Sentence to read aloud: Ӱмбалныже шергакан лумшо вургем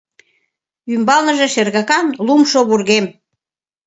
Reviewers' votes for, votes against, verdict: 2, 0, accepted